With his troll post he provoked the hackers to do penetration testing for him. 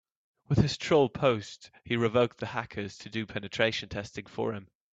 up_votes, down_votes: 2, 1